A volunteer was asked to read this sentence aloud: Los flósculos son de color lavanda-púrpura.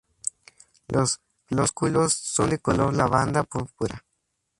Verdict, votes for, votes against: rejected, 0, 2